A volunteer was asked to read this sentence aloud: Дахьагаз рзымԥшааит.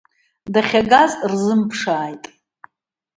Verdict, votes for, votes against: accepted, 2, 0